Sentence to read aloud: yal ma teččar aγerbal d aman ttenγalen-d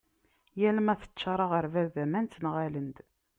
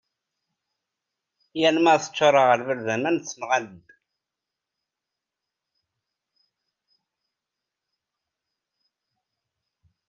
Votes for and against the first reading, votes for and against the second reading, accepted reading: 2, 0, 1, 2, first